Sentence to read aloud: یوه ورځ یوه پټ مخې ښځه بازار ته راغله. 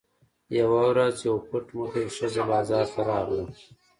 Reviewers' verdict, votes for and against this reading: rejected, 1, 2